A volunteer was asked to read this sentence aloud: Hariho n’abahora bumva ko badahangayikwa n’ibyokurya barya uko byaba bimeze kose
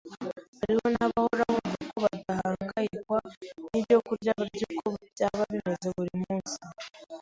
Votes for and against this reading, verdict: 0, 2, rejected